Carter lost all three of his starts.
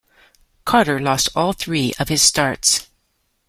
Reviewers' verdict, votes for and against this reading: accepted, 2, 0